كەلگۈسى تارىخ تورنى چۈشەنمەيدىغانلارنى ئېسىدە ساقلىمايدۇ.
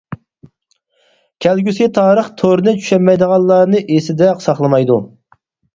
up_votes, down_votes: 4, 2